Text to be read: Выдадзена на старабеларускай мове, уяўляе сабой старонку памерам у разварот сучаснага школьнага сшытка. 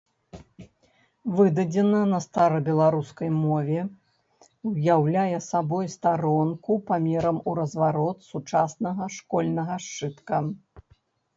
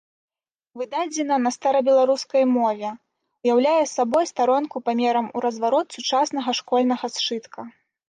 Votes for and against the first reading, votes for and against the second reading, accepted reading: 2, 0, 1, 2, first